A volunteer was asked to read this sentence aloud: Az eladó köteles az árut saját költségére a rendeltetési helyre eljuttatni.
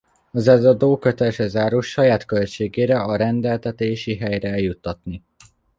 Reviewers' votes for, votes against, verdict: 0, 2, rejected